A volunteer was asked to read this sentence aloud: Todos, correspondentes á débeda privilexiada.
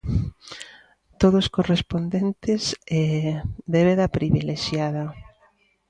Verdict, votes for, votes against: rejected, 0, 3